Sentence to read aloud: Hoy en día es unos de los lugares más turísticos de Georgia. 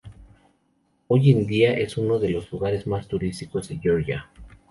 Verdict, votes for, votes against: rejected, 2, 2